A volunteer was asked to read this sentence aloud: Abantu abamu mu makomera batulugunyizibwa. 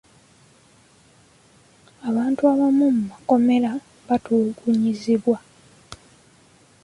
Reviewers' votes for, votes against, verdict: 2, 0, accepted